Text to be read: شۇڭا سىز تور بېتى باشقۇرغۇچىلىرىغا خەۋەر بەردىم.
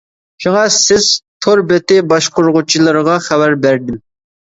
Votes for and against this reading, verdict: 2, 0, accepted